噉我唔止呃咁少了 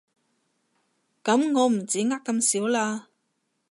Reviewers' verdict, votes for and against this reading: rejected, 1, 2